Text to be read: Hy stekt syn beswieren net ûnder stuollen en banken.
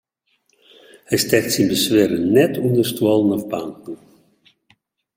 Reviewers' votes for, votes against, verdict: 1, 2, rejected